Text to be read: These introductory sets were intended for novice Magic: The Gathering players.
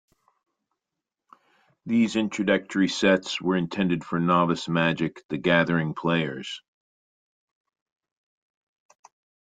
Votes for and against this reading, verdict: 2, 0, accepted